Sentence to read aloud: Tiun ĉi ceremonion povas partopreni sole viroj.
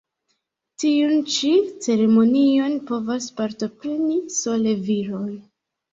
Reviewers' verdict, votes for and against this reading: accepted, 2, 0